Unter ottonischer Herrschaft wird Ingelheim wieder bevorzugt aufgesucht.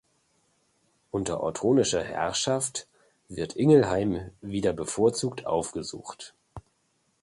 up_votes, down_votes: 2, 0